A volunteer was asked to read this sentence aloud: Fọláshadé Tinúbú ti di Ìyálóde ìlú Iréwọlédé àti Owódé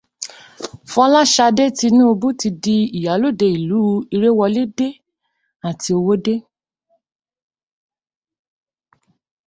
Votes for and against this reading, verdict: 2, 0, accepted